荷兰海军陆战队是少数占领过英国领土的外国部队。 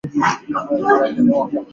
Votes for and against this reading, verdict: 0, 2, rejected